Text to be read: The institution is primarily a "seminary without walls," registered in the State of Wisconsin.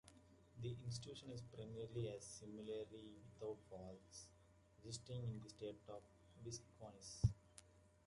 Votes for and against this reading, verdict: 0, 2, rejected